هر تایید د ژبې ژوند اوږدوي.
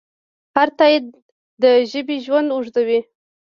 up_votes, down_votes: 0, 2